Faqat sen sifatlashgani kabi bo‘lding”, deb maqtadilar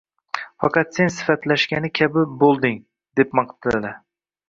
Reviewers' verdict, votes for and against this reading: rejected, 1, 2